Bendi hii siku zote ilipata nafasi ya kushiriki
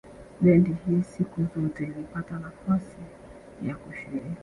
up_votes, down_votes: 0, 2